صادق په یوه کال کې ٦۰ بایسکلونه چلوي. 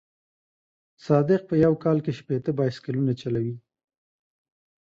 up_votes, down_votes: 0, 2